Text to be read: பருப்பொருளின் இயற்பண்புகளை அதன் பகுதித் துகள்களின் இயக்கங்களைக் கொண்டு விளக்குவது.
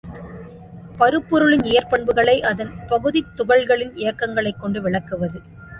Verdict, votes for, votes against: accepted, 2, 1